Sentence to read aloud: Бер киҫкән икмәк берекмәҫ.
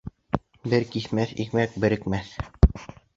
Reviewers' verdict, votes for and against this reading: rejected, 1, 2